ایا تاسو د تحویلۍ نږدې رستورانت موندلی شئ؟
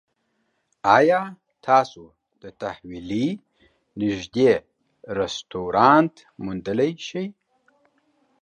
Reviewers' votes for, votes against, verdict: 2, 0, accepted